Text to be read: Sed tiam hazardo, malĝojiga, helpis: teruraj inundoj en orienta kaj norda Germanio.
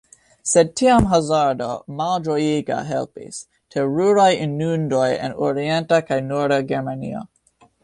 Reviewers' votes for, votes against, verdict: 0, 2, rejected